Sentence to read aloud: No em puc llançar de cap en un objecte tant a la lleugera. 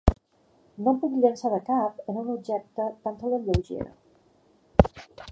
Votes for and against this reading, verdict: 0, 2, rejected